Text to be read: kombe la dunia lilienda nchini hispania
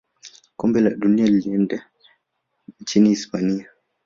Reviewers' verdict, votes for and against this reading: rejected, 0, 2